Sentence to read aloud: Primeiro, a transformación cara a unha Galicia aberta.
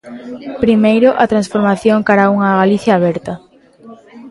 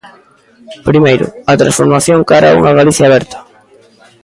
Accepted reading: second